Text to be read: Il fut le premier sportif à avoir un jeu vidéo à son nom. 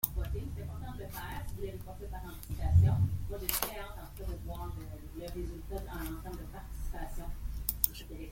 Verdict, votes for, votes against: rejected, 0, 2